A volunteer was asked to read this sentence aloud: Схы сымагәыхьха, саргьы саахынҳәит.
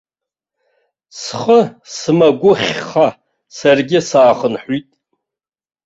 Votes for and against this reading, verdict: 2, 0, accepted